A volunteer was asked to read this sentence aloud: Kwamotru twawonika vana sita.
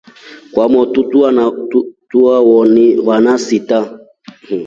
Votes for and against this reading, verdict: 1, 2, rejected